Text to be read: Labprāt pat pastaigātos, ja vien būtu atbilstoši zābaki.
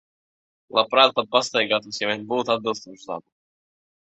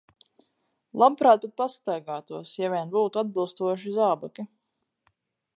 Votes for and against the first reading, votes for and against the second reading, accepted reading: 2, 0, 2, 4, first